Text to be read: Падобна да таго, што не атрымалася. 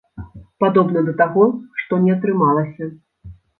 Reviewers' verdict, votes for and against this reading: accepted, 2, 0